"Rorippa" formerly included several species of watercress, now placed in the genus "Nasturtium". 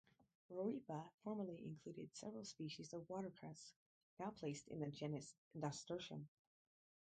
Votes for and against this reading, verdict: 0, 4, rejected